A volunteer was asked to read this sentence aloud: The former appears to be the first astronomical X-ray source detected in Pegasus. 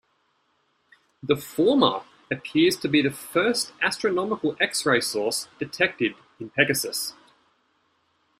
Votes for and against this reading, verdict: 2, 1, accepted